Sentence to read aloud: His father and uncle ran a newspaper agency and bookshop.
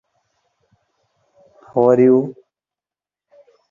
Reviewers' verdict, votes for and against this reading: rejected, 0, 3